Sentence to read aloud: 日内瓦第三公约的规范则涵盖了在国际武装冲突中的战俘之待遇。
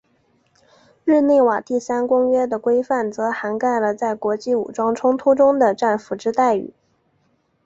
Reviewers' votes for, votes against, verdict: 2, 0, accepted